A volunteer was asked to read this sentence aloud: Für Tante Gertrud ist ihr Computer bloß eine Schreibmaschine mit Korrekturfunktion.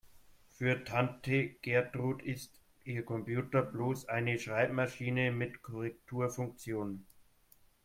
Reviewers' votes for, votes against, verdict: 0, 2, rejected